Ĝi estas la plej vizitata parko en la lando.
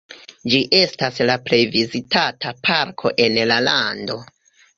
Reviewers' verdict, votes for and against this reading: rejected, 1, 2